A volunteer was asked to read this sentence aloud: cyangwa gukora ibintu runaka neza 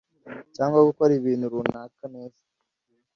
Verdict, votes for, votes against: accepted, 2, 0